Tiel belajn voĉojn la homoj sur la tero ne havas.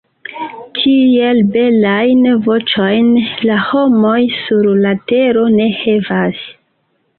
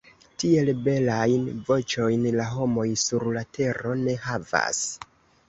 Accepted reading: second